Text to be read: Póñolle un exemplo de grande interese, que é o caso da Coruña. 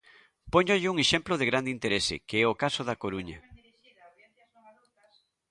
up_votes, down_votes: 2, 0